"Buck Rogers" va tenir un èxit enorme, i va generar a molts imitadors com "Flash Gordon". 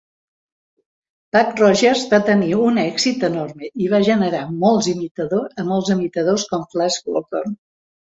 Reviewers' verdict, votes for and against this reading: rejected, 0, 2